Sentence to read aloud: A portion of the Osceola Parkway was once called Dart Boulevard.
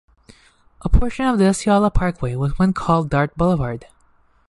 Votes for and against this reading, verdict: 1, 2, rejected